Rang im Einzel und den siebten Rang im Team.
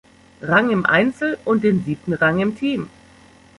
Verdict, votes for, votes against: rejected, 1, 2